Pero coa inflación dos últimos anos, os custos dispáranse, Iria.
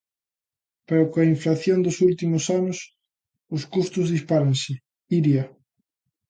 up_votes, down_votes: 2, 0